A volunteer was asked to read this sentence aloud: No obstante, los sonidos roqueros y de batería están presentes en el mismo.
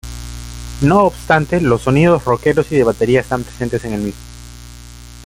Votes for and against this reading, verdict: 1, 2, rejected